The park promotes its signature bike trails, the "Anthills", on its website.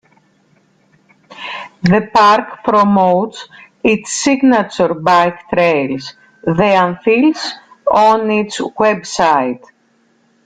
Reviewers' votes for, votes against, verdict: 3, 1, accepted